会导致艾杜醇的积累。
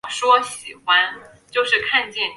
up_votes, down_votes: 0, 3